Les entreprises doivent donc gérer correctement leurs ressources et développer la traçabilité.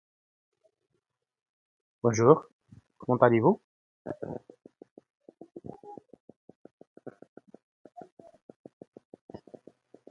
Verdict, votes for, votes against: rejected, 0, 2